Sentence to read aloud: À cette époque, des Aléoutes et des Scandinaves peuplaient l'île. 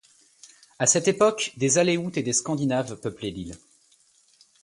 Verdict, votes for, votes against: accepted, 2, 0